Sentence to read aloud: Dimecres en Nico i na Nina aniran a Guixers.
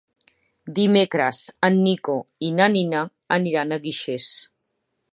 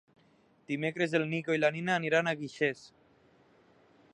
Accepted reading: first